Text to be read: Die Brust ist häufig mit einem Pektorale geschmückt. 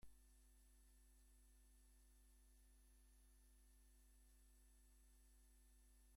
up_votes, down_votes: 0, 2